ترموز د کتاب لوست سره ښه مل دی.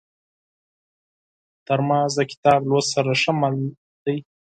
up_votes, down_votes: 0, 4